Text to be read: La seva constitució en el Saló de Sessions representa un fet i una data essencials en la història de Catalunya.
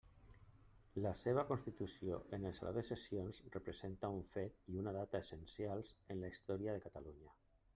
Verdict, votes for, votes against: accepted, 2, 0